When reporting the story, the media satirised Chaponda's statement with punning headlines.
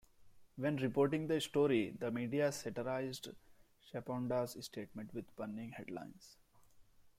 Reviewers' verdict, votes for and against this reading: accepted, 2, 0